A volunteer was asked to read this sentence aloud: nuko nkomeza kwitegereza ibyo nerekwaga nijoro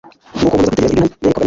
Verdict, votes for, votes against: rejected, 1, 2